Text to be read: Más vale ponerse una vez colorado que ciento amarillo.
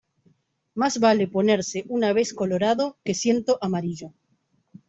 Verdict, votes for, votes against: accepted, 2, 0